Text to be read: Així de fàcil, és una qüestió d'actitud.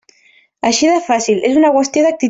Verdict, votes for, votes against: rejected, 0, 2